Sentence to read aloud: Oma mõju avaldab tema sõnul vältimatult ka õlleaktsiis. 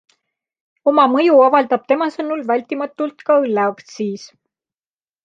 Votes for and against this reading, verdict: 2, 0, accepted